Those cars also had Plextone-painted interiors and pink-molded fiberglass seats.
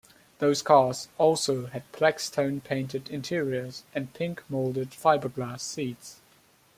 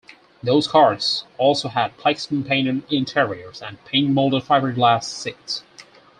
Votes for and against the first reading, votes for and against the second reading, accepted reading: 2, 0, 2, 4, first